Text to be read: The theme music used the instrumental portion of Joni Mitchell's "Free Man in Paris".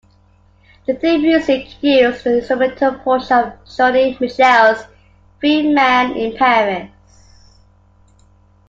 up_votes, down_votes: 2, 1